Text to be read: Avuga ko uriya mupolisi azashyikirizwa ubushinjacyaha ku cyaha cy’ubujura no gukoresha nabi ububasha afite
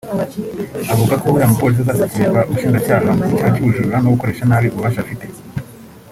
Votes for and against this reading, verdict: 1, 2, rejected